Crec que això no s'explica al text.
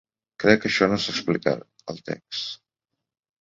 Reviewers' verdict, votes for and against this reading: accepted, 2, 0